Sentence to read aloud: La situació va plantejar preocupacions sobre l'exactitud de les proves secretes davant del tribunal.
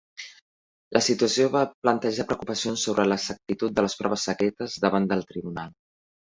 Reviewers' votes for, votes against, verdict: 1, 2, rejected